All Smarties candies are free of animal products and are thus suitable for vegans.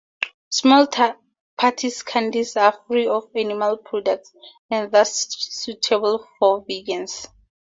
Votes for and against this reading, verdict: 0, 2, rejected